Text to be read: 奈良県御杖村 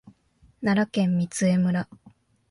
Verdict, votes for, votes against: accepted, 2, 0